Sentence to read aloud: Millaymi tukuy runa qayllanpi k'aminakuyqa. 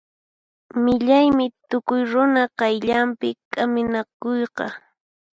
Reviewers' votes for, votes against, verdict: 4, 0, accepted